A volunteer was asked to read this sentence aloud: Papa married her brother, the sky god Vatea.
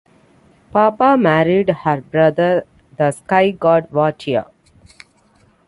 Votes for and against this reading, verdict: 3, 0, accepted